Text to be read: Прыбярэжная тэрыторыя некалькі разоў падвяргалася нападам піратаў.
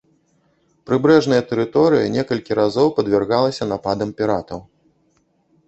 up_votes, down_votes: 0, 2